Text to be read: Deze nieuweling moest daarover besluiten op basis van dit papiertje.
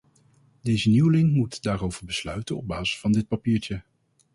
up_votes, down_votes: 0, 2